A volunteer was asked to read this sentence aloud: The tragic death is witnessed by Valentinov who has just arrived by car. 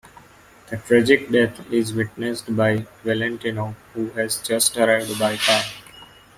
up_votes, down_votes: 2, 0